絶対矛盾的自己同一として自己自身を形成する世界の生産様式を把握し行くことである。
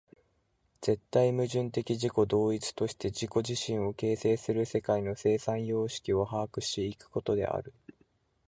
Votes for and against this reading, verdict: 4, 0, accepted